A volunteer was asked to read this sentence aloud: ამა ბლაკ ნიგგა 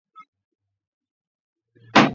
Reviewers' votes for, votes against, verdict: 0, 2, rejected